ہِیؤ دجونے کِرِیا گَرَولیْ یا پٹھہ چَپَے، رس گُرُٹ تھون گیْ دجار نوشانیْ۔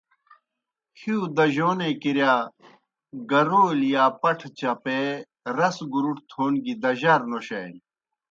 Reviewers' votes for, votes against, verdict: 2, 0, accepted